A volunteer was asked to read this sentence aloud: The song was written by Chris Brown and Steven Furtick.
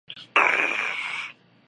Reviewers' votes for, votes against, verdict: 0, 2, rejected